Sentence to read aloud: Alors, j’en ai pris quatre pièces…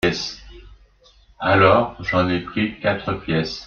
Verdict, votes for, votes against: rejected, 1, 2